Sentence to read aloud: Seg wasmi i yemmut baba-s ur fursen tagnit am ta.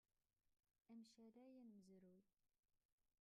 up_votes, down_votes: 0, 2